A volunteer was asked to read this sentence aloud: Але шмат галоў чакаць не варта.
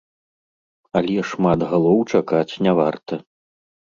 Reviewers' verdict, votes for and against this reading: accepted, 2, 0